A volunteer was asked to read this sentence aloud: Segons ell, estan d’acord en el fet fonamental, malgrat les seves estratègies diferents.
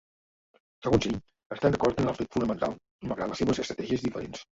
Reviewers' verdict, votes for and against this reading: rejected, 1, 3